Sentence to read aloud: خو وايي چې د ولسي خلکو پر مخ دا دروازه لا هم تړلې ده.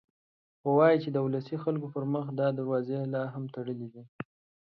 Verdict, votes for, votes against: accepted, 2, 0